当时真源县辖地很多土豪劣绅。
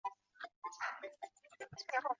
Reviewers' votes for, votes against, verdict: 0, 2, rejected